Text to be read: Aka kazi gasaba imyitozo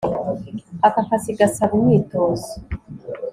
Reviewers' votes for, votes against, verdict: 2, 0, accepted